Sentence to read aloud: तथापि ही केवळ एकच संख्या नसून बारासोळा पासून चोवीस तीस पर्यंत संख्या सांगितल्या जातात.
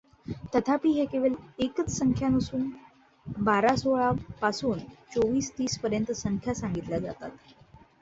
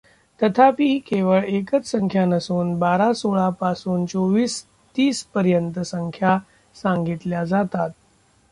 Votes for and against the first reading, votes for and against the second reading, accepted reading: 2, 0, 0, 2, first